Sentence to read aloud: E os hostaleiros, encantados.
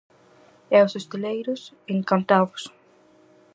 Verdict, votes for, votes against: rejected, 2, 2